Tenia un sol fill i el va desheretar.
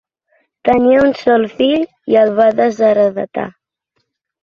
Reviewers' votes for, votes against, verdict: 1, 2, rejected